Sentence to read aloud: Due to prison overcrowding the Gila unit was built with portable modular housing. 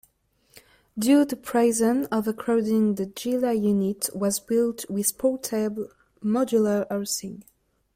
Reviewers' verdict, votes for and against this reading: rejected, 0, 2